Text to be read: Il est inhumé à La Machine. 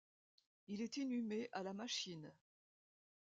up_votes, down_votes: 2, 1